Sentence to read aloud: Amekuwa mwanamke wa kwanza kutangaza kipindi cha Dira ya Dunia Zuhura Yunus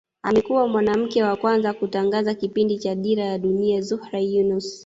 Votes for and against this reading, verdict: 1, 2, rejected